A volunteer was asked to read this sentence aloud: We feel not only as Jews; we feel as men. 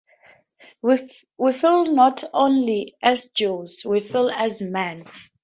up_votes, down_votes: 0, 2